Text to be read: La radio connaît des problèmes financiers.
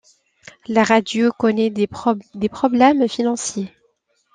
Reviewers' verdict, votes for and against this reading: rejected, 0, 2